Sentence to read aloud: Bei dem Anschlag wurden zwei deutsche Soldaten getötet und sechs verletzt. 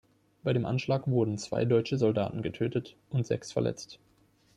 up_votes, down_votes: 2, 0